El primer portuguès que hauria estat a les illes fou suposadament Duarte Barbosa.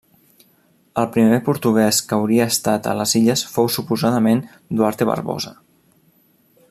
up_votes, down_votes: 3, 0